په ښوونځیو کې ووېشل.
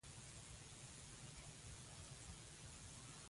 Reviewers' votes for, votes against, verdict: 0, 2, rejected